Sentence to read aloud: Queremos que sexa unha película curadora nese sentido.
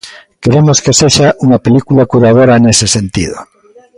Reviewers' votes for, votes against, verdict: 2, 0, accepted